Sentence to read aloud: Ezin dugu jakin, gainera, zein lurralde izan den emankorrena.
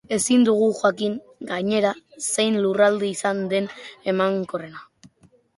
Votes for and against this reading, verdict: 2, 0, accepted